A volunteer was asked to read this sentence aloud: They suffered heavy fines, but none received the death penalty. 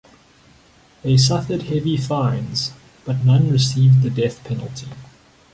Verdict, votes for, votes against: accepted, 2, 0